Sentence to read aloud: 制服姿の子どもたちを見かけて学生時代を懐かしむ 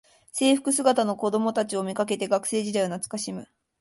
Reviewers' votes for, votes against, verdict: 2, 0, accepted